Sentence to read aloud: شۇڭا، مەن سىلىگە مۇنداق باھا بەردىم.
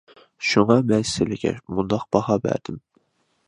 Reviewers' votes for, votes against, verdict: 2, 0, accepted